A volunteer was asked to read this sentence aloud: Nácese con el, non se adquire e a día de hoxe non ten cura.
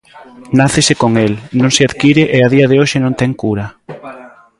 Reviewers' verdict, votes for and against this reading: rejected, 0, 2